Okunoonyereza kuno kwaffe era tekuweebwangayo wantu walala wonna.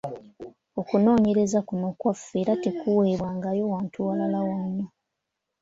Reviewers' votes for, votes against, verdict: 2, 0, accepted